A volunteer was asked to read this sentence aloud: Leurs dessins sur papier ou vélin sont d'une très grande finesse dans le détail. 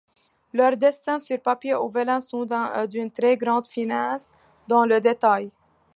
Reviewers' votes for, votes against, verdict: 2, 1, accepted